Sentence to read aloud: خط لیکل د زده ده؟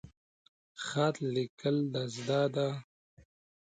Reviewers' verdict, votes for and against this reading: accepted, 2, 0